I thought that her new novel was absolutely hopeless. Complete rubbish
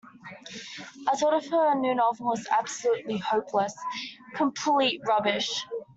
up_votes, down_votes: 0, 2